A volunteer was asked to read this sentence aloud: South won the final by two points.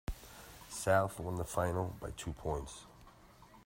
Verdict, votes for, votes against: accepted, 2, 0